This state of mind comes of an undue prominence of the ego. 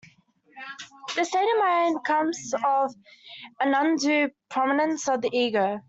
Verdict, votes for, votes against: rejected, 0, 2